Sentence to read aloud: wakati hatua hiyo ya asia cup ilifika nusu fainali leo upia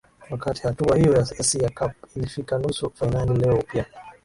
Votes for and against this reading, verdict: 2, 0, accepted